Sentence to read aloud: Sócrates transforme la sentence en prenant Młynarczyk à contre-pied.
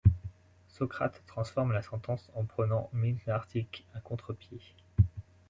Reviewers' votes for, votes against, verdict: 2, 0, accepted